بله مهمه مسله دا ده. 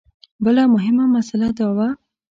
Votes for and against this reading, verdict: 1, 2, rejected